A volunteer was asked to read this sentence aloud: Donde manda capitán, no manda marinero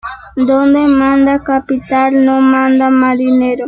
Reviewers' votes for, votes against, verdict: 2, 1, accepted